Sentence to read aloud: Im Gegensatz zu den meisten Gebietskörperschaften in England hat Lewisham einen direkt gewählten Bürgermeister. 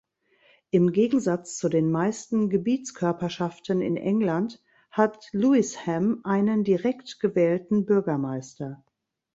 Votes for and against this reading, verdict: 1, 2, rejected